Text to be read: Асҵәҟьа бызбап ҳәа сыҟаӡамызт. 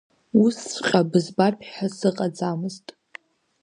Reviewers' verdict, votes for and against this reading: rejected, 1, 2